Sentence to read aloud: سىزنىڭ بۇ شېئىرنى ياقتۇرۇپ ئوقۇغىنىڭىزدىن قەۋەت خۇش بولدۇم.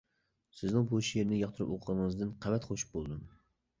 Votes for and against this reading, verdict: 2, 0, accepted